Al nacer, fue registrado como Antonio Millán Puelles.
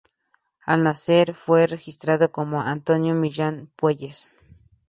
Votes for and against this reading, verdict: 2, 0, accepted